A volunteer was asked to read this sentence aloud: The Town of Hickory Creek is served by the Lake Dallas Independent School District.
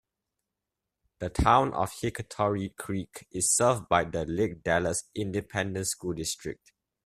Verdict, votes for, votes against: rejected, 0, 2